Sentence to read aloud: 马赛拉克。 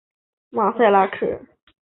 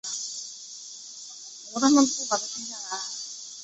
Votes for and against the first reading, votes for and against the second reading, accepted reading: 4, 0, 0, 3, first